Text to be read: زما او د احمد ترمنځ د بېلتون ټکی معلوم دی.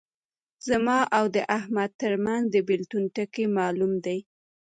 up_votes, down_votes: 3, 0